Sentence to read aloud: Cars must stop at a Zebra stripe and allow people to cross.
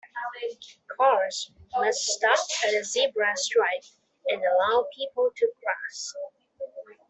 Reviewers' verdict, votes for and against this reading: accepted, 2, 1